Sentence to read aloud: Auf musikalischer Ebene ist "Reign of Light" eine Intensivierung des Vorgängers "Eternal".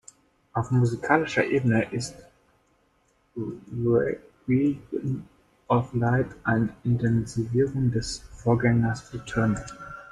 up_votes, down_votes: 0, 2